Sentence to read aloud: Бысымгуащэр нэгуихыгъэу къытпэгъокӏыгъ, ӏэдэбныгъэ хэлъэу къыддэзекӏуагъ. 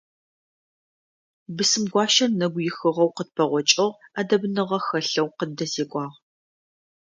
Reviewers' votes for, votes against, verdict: 2, 0, accepted